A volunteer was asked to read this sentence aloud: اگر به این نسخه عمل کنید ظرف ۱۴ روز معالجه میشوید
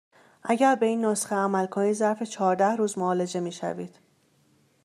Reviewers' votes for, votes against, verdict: 0, 2, rejected